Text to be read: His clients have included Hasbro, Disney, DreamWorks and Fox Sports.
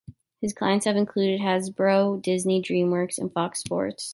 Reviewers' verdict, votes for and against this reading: accepted, 2, 0